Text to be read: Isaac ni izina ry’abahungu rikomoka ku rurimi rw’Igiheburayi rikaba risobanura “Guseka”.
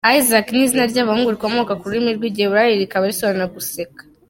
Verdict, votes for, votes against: accepted, 2, 0